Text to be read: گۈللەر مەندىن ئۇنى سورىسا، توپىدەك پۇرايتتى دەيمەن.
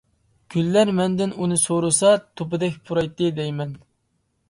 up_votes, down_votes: 2, 0